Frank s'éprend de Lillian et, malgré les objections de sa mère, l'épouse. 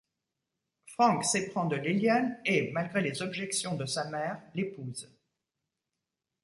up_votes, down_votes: 2, 1